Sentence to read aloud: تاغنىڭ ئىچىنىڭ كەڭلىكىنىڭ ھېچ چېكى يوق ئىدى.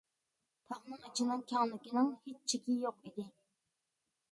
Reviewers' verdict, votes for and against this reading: rejected, 1, 2